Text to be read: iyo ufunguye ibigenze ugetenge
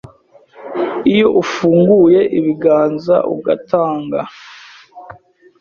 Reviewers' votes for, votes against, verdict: 1, 2, rejected